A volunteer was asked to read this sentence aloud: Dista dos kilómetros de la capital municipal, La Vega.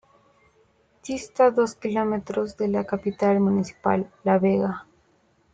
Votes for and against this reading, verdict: 2, 0, accepted